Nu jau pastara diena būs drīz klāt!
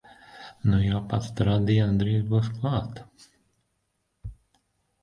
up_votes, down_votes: 0, 4